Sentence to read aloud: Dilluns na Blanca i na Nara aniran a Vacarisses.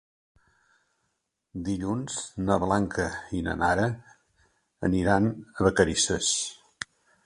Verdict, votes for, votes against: accepted, 2, 0